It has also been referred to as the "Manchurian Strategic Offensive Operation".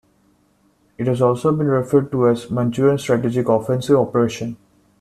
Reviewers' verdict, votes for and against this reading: rejected, 1, 2